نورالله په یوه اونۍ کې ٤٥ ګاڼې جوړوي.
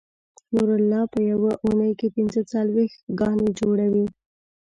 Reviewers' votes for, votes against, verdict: 0, 2, rejected